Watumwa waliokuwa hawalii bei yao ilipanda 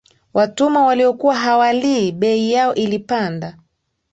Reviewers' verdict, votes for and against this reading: accepted, 2, 0